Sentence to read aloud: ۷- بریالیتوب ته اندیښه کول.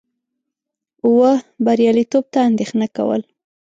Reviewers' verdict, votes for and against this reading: rejected, 0, 2